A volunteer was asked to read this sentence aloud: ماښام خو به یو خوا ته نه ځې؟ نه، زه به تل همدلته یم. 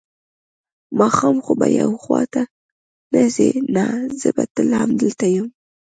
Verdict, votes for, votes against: accepted, 2, 0